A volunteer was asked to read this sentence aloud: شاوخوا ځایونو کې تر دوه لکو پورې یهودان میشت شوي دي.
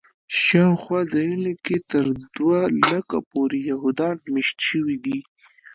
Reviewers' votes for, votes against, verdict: 0, 2, rejected